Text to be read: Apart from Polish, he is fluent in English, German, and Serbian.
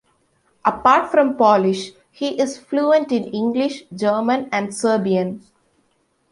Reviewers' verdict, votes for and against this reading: accepted, 2, 0